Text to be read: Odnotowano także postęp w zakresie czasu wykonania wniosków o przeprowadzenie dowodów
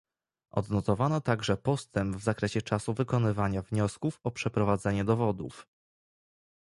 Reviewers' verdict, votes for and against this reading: rejected, 0, 2